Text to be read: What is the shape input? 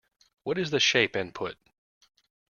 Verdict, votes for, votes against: accepted, 2, 1